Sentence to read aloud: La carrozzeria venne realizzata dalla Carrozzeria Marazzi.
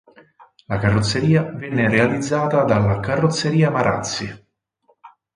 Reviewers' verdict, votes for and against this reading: accepted, 6, 0